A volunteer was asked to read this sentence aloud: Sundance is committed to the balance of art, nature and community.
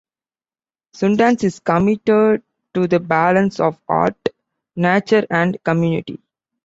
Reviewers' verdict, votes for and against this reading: accepted, 2, 0